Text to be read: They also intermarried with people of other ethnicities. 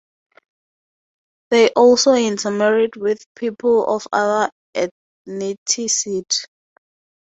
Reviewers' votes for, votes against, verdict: 0, 4, rejected